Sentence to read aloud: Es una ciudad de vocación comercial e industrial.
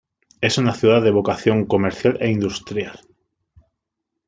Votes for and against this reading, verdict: 2, 0, accepted